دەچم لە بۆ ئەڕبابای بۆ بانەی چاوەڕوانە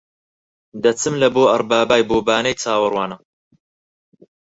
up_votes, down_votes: 4, 0